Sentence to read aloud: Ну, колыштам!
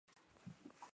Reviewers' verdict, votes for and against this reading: rejected, 0, 2